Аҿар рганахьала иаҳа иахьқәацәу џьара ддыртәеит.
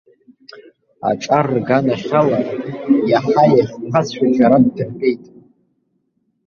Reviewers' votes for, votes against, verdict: 0, 2, rejected